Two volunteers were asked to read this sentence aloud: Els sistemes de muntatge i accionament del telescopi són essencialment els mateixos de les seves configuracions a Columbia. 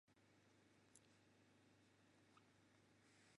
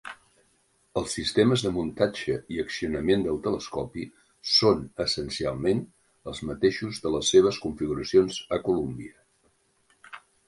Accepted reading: second